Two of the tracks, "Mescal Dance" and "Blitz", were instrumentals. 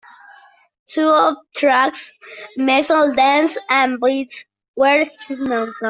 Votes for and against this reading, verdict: 0, 2, rejected